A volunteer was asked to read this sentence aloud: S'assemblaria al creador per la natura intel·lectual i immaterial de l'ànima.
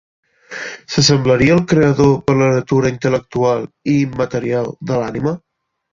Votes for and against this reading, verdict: 0, 2, rejected